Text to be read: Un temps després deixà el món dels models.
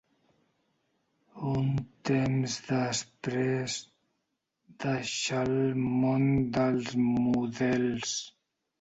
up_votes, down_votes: 1, 2